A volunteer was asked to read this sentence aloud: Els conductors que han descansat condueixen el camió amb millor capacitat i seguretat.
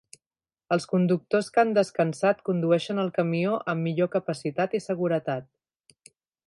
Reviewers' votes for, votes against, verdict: 1, 2, rejected